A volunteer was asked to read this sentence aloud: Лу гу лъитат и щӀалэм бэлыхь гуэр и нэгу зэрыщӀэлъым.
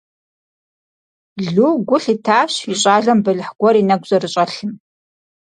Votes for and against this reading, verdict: 0, 4, rejected